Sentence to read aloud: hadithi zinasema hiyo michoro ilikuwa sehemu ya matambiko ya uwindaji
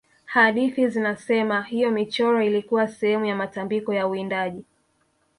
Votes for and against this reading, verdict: 3, 1, accepted